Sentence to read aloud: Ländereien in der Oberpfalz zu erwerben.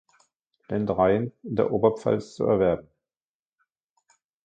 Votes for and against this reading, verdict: 2, 0, accepted